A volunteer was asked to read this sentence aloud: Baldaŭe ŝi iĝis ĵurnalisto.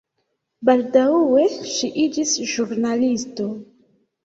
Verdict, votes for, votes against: accepted, 2, 0